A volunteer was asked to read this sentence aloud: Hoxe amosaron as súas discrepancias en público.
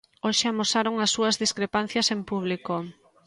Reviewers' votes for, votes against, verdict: 2, 0, accepted